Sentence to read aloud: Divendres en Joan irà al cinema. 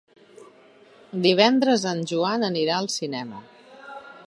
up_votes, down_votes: 0, 2